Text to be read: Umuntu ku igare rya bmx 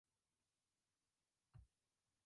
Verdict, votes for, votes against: rejected, 0, 2